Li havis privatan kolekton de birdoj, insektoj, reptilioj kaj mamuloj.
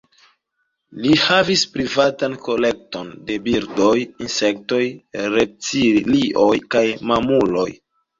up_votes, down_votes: 2, 0